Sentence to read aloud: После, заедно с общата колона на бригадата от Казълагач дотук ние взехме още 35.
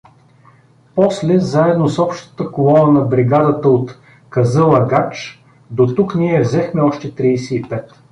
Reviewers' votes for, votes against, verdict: 0, 2, rejected